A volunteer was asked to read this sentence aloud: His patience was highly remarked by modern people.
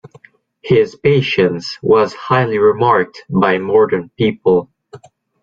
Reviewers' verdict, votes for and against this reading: accepted, 2, 0